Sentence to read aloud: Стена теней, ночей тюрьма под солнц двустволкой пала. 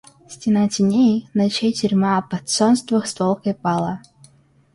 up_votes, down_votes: 2, 1